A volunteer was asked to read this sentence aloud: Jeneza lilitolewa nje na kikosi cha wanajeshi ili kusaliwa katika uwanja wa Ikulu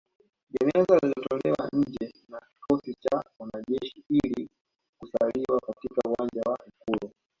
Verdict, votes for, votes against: accepted, 2, 0